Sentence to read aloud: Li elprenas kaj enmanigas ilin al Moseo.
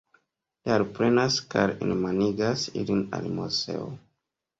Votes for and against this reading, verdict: 1, 3, rejected